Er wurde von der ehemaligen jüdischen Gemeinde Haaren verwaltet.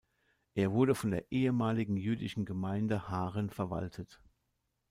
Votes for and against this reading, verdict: 2, 0, accepted